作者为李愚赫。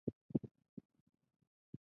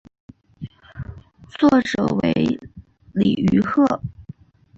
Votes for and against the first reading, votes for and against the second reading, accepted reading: 0, 2, 2, 0, second